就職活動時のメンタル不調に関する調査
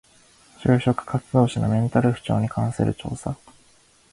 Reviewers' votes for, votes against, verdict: 2, 0, accepted